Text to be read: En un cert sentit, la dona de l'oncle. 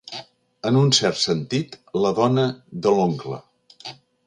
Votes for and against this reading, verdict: 2, 0, accepted